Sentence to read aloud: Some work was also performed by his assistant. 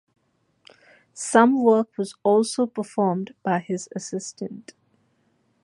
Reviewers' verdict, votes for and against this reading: accepted, 2, 0